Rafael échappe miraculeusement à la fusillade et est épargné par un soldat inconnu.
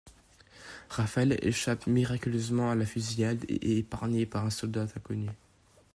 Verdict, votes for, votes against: accepted, 2, 1